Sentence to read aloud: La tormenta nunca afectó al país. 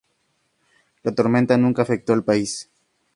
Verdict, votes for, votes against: accepted, 2, 0